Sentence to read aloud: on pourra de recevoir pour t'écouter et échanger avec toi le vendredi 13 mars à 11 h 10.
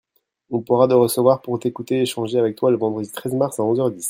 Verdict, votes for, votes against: rejected, 0, 2